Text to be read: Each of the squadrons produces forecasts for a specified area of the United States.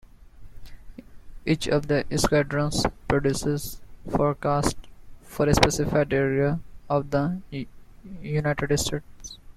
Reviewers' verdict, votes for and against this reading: accepted, 2, 1